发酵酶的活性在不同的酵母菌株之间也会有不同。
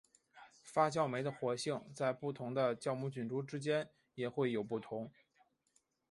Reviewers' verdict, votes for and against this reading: accepted, 3, 0